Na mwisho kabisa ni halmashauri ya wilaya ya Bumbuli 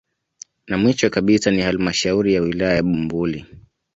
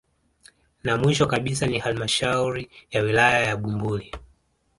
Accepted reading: first